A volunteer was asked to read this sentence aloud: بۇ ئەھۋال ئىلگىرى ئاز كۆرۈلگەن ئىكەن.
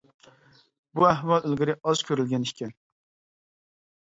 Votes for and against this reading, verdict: 2, 0, accepted